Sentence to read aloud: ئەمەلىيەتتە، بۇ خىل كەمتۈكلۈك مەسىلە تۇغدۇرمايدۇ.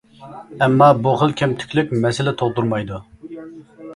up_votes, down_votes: 0, 2